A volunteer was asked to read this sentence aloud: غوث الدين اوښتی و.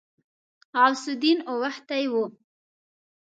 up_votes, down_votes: 2, 0